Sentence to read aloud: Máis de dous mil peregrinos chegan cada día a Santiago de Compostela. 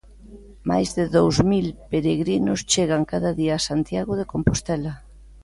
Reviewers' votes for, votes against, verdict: 2, 0, accepted